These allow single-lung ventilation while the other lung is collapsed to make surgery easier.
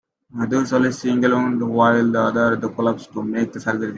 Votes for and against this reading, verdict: 0, 2, rejected